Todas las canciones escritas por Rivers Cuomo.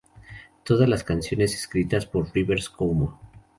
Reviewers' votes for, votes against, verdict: 4, 0, accepted